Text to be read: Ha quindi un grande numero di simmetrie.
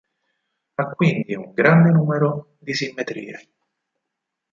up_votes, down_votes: 4, 0